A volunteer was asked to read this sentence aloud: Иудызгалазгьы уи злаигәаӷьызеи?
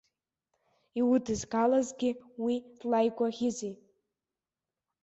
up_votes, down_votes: 2, 0